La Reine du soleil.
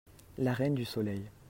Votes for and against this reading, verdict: 2, 0, accepted